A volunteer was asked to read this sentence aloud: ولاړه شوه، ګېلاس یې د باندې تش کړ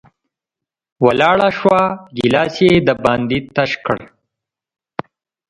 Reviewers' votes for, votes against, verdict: 2, 1, accepted